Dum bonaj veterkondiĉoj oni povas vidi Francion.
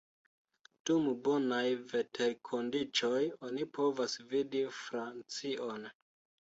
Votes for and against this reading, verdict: 2, 1, accepted